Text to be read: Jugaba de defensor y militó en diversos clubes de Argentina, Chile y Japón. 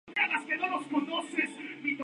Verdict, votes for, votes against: rejected, 0, 2